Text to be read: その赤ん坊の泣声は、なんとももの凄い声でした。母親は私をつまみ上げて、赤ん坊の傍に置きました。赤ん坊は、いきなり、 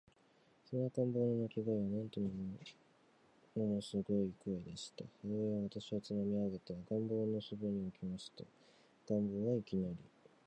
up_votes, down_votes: 5, 6